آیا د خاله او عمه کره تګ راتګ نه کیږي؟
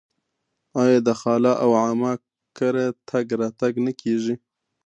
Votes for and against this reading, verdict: 2, 0, accepted